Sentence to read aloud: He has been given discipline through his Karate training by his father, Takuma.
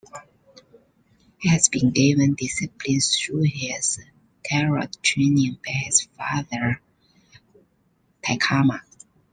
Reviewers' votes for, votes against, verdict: 1, 2, rejected